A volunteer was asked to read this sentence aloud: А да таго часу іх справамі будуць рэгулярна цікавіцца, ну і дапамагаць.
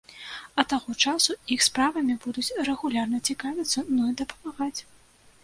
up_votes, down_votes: 0, 2